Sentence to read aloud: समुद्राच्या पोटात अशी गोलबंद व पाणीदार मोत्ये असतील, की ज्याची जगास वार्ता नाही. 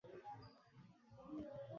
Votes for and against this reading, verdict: 0, 2, rejected